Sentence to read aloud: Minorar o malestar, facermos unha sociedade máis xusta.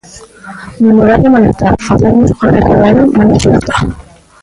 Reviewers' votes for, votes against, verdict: 0, 3, rejected